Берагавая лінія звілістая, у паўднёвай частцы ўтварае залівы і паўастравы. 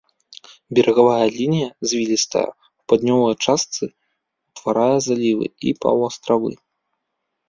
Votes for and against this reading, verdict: 0, 2, rejected